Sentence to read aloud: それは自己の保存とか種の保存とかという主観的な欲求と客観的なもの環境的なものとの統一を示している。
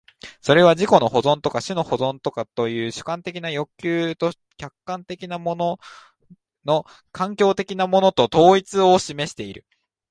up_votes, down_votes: 1, 2